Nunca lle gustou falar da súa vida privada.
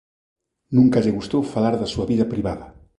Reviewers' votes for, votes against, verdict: 1, 2, rejected